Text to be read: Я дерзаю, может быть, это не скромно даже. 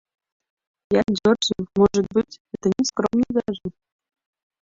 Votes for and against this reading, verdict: 1, 2, rejected